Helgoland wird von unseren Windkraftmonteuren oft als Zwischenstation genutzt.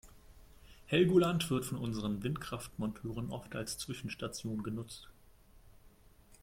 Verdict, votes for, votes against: accepted, 2, 0